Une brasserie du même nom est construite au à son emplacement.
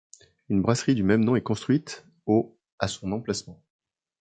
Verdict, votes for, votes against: accepted, 2, 0